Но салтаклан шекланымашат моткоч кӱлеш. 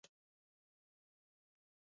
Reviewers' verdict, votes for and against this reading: rejected, 0, 4